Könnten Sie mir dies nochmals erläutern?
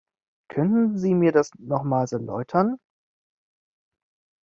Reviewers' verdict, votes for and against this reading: rejected, 0, 2